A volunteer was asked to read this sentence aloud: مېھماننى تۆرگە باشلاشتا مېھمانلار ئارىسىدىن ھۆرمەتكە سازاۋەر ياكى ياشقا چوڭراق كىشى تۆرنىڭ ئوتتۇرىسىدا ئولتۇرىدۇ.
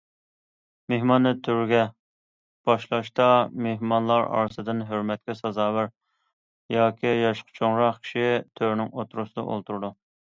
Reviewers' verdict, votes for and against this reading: accepted, 2, 0